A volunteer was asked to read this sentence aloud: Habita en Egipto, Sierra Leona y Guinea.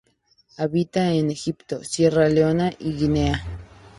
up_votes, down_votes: 2, 0